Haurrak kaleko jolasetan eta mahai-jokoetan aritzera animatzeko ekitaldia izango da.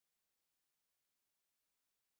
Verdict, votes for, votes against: accepted, 2, 0